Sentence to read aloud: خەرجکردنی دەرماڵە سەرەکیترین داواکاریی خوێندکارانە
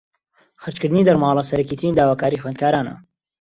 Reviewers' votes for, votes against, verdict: 2, 0, accepted